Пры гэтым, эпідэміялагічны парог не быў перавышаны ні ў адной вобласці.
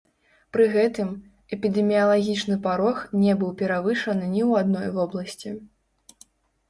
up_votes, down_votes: 1, 2